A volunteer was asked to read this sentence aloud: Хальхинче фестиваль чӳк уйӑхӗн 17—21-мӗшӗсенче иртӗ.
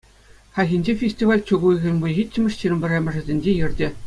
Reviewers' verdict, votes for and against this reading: rejected, 0, 2